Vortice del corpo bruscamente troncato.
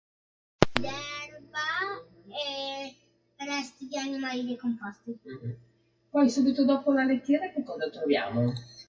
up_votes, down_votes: 0, 3